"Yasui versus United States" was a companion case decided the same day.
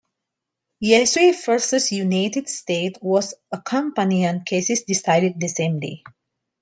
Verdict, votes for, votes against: rejected, 0, 3